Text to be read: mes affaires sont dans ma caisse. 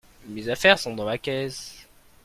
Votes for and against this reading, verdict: 2, 0, accepted